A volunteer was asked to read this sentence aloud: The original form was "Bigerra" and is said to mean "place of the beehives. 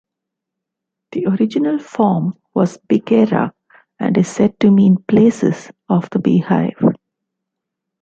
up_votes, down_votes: 0, 2